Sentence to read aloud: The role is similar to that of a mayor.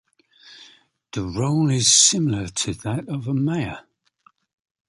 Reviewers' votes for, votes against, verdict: 2, 0, accepted